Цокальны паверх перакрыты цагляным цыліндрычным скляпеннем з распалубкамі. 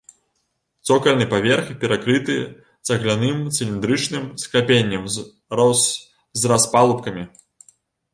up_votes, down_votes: 2, 3